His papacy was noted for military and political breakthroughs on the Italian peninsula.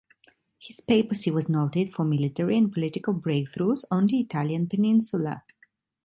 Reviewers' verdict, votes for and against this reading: accepted, 2, 1